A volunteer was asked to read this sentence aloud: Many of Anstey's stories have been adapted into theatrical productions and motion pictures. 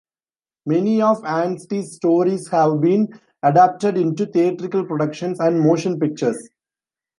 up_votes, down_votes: 2, 0